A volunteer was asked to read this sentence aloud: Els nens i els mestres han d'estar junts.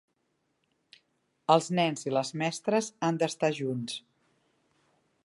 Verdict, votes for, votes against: rejected, 1, 2